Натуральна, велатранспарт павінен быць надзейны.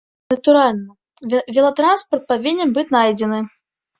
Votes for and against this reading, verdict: 0, 2, rejected